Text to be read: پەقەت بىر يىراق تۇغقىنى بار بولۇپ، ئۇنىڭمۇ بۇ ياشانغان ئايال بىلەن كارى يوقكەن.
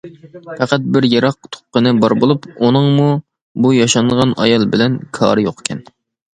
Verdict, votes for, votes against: accepted, 2, 0